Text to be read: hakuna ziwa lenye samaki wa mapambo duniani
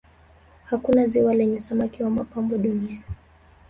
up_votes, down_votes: 1, 2